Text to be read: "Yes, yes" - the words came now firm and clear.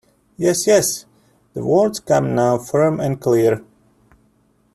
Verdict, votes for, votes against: rejected, 1, 2